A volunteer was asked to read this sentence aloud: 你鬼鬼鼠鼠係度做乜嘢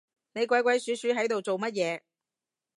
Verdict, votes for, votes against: rejected, 1, 2